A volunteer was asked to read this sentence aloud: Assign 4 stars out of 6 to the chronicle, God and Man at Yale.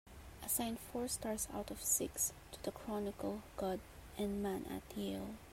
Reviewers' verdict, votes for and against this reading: rejected, 0, 2